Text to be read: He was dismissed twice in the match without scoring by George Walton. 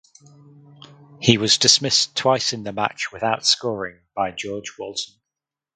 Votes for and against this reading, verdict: 4, 0, accepted